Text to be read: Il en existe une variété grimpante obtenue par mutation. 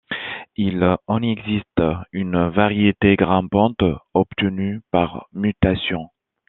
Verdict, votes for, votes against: accepted, 2, 0